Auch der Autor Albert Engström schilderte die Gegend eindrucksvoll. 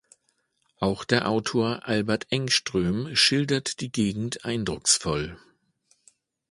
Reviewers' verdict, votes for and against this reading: rejected, 0, 2